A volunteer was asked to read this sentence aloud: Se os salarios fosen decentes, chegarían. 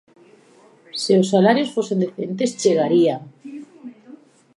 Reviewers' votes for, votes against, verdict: 1, 2, rejected